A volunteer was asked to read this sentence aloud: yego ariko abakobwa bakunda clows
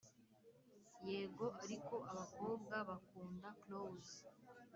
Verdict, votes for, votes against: accepted, 4, 0